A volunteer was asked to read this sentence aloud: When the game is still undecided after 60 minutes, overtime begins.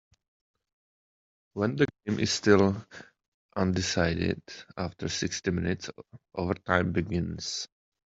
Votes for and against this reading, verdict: 0, 2, rejected